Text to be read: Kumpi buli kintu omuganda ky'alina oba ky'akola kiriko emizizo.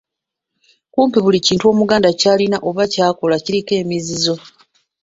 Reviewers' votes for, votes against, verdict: 2, 0, accepted